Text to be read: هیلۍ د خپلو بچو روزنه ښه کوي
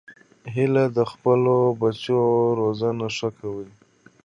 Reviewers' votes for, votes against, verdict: 3, 1, accepted